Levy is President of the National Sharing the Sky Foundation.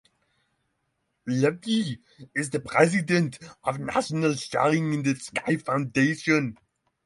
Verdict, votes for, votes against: rejected, 3, 3